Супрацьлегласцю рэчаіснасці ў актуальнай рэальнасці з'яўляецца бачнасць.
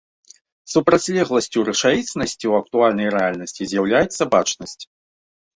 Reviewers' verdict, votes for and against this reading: accepted, 2, 0